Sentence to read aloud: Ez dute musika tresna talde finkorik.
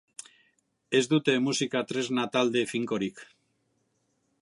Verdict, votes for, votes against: accepted, 2, 1